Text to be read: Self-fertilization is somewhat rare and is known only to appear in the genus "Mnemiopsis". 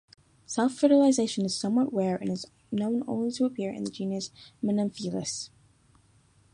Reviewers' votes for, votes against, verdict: 2, 3, rejected